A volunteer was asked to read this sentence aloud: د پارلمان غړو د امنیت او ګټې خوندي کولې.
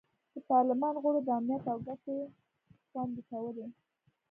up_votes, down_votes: 2, 1